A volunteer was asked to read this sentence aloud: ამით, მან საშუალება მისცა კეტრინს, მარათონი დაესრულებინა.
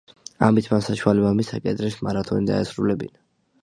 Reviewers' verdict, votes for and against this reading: accepted, 2, 0